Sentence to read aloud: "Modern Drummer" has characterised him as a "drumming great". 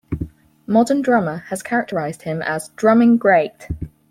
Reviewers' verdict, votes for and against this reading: accepted, 4, 2